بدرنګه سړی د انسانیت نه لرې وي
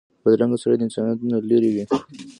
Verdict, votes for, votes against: rejected, 1, 2